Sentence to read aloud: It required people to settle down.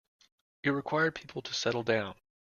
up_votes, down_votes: 2, 1